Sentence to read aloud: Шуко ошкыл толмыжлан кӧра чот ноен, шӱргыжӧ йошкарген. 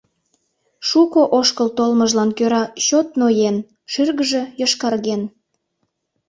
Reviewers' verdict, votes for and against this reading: accepted, 2, 0